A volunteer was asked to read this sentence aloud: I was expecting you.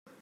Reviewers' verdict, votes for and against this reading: rejected, 0, 2